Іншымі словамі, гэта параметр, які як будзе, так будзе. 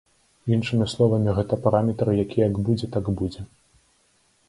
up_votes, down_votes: 2, 0